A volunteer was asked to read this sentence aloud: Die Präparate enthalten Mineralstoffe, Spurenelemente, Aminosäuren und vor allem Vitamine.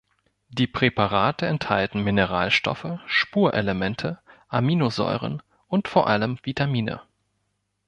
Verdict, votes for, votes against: rejected, 1, 2